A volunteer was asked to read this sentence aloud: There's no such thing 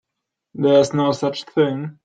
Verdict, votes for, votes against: accepted, 2, 1